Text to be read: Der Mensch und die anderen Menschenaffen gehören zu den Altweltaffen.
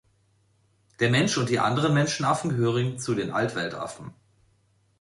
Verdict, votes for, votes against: rejected, 0, 2